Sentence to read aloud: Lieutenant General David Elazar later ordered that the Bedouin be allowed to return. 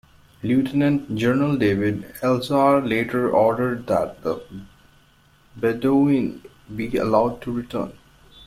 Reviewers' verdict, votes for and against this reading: rejected, 0, 2